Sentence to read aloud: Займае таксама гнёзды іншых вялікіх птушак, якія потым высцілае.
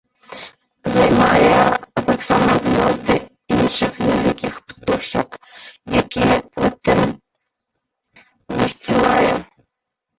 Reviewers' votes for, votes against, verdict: 0, 2, rejected